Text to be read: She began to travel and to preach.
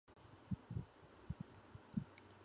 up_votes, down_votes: 0, 2